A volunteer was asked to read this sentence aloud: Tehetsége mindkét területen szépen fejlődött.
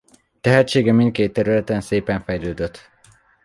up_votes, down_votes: 2, 0